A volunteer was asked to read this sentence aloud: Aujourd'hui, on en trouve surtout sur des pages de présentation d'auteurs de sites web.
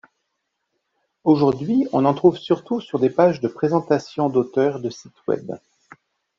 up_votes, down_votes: 2, 0